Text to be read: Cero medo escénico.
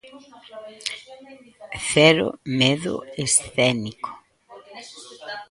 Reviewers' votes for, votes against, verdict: 2, 1, accepted